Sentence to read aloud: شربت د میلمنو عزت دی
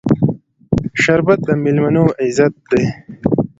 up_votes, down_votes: 2, 0